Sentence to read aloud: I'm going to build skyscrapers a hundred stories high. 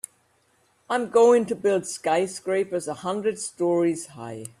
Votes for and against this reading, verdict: 2, 0, accepted